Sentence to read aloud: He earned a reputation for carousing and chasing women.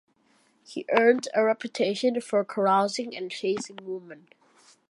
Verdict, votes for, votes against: accepted, 2, 0